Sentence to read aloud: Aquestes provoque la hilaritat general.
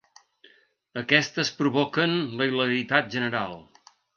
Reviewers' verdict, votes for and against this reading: rejected, 0, 2